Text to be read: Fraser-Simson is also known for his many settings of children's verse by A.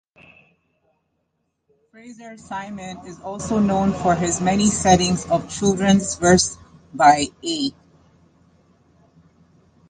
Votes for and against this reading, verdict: 1, 2, rejected